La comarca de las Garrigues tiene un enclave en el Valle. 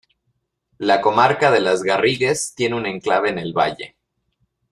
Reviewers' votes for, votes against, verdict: 2, 0, accepted